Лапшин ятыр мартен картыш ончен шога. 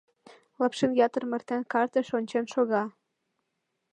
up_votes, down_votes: 2, 0